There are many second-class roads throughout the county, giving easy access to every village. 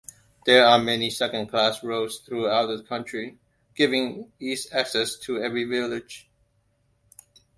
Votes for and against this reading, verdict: 0, 2, rejected